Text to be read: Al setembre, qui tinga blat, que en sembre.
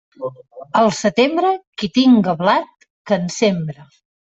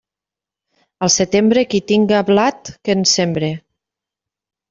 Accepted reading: second